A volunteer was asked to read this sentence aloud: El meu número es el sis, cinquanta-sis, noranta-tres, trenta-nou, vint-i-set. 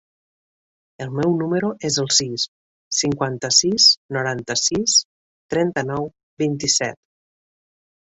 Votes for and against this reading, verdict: 0, 2, rejected